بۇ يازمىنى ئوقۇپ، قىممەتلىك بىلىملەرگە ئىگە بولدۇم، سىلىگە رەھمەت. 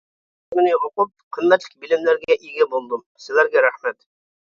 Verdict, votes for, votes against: rejected, 0, 2